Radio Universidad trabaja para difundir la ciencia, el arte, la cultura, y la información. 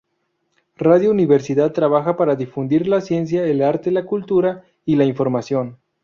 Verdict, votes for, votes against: accepted, 2, 0